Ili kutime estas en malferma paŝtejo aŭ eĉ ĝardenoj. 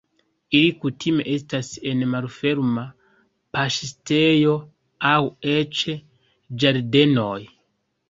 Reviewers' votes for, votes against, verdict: 2, 0, accepted